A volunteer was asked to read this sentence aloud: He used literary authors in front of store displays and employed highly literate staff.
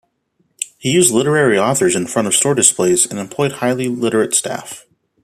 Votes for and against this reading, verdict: 1, 2, rejected